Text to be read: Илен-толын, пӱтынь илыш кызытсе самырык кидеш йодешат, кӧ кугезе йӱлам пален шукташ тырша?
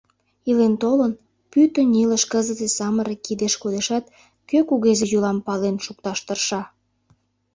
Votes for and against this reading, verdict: 1, 3, rejected